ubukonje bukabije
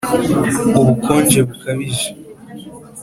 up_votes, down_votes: 2, 0